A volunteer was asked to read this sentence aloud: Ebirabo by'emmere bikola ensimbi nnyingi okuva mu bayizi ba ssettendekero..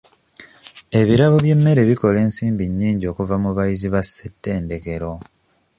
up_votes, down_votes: 2, 0